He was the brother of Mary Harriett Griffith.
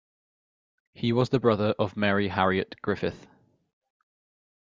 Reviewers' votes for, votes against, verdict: 3, 0, accepted